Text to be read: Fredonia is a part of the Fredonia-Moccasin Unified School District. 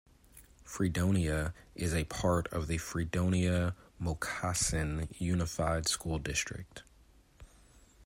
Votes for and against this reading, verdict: 2, 0, accepted